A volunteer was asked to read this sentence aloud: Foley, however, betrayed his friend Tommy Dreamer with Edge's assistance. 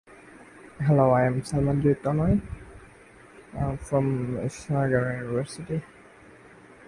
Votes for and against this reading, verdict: 0, 2, rejected